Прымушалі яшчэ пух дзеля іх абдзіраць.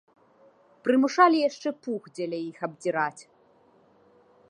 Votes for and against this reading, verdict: 2, 0, accepted